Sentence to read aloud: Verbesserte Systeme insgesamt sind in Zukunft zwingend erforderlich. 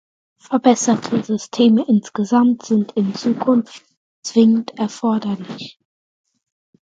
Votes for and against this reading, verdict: 2, 0, accepted